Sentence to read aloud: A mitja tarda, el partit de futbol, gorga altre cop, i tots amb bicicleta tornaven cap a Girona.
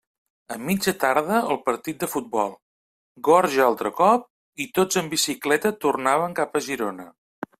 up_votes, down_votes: 0, 2